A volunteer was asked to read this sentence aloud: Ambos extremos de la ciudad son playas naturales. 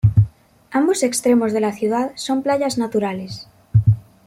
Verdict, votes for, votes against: accepted, 2, 0